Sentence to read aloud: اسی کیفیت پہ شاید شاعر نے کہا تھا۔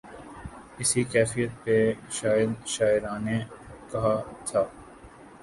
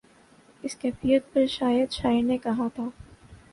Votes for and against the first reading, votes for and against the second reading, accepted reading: 0, 2, 3, 0, second